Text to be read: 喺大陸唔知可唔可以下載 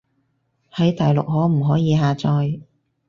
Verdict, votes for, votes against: rejected, 2, 4